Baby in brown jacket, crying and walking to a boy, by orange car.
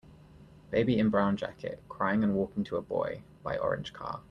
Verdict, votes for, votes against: accepted, 2, 0